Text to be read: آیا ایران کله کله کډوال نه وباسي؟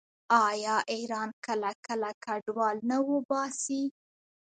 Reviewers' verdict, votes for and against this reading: accepted, 2, 1